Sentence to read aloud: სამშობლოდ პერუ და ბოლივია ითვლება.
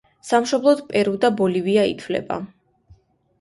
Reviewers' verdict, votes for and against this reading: accepted, 2, 0